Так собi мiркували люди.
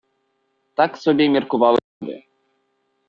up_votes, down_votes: 0, 2